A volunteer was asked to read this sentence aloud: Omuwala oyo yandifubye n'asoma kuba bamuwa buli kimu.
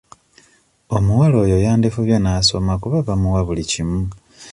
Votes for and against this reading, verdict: 2, 0, accepted